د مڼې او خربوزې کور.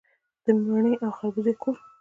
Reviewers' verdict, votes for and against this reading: accepted, 2, 1